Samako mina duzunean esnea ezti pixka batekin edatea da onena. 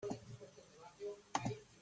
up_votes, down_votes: 0, 2